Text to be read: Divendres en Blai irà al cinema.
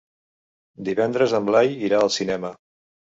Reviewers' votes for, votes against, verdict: 3, 0, accepted